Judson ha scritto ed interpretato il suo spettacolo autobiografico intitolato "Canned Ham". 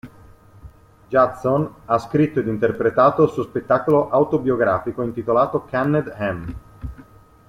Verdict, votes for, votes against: accepted, 2, 0